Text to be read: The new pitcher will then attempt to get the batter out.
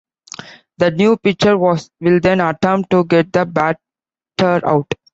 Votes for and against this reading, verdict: 1, 2, rejected